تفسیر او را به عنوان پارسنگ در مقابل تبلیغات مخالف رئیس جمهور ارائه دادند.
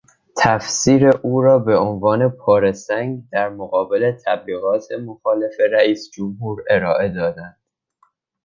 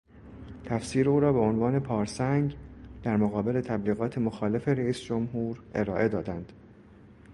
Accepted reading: second